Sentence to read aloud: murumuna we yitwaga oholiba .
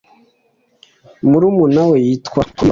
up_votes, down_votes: 0, 2